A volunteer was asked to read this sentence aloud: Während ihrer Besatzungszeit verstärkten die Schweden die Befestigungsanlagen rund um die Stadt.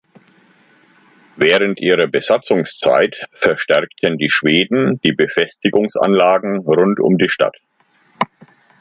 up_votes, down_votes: 2, 0